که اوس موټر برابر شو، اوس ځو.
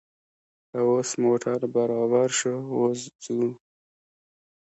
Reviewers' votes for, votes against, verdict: 1, 2, rejected